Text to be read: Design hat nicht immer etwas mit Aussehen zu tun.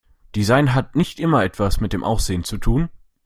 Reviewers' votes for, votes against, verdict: 1, 2, rejected